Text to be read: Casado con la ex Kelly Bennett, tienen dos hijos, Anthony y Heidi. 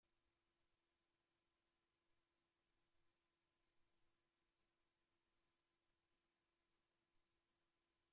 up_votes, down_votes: 0, 2